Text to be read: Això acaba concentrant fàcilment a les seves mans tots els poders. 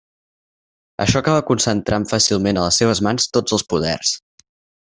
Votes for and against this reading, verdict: 4, 0, accepted